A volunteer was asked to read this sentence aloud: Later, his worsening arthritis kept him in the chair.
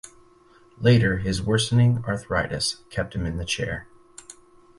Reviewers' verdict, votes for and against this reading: accepted, 4, 0